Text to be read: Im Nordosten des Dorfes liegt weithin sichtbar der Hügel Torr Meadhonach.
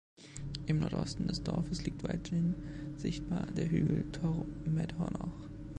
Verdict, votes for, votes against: rejected, 1, 2